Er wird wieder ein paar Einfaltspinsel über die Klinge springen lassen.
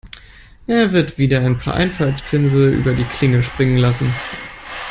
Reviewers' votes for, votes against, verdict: 2, 0, accepted